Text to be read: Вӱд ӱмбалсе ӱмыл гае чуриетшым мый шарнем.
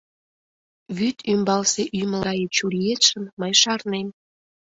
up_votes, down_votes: 1, 2